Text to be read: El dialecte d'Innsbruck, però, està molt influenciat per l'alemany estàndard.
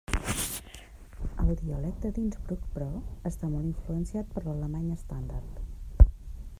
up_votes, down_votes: 1, 2